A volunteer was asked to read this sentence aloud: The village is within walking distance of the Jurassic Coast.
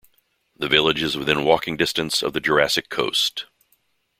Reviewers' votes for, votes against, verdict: 0, 2, rejected